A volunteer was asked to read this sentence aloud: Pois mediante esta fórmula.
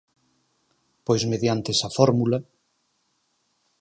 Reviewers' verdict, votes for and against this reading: rejected, 4, 6